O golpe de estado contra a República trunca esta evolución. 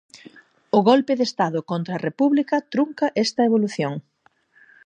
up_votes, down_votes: 4, 0